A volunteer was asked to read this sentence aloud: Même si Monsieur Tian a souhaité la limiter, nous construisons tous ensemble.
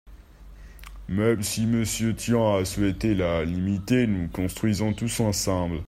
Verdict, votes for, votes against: accepted, 2, 0